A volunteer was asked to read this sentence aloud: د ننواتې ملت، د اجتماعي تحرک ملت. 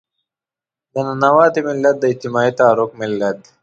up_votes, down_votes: 2, 0